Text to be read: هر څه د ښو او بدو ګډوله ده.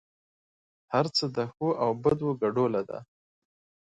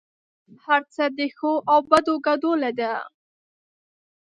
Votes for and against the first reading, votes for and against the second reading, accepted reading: 2, 0, 2, 3, first